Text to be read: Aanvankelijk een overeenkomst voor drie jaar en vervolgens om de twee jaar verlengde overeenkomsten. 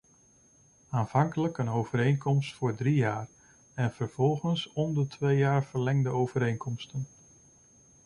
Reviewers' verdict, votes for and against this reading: accepted, 2, 0